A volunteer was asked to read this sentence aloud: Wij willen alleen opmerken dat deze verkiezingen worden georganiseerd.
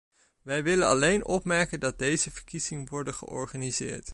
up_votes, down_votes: 0, 2